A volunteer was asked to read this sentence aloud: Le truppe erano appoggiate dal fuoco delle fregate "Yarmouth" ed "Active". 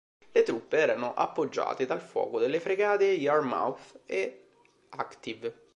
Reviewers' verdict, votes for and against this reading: rejected, 0, 2